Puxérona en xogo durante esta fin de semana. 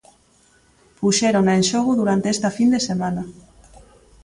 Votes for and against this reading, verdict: 2, 0, accepted